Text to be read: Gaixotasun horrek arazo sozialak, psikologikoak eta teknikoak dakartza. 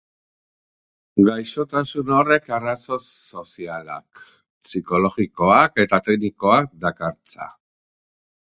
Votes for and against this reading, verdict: 2, 0, accepted